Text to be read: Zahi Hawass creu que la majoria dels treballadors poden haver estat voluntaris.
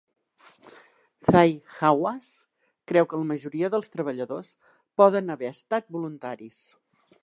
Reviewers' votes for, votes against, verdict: 2, 0, accepted